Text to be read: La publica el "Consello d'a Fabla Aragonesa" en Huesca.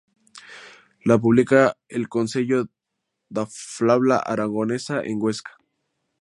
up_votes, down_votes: 0, 2